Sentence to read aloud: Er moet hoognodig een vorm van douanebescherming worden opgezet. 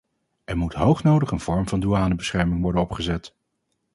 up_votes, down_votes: 2, 0